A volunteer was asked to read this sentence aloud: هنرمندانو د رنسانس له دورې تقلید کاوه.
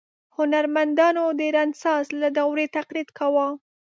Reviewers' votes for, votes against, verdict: 2, 0, accepted